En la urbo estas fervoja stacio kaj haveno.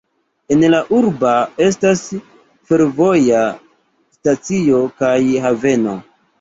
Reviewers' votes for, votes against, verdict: 1, 2, rejected